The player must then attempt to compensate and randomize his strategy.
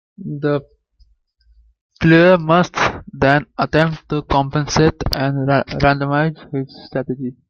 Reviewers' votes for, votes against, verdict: 2, 3, rejected